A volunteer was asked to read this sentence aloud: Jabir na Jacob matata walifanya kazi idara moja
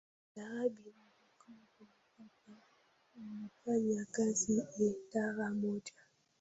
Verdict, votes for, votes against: rejected, 0, 2